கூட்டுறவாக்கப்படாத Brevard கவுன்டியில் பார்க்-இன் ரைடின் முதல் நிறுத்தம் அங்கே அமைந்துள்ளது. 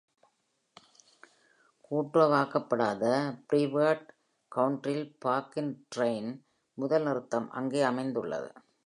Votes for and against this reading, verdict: 2, 0, accepted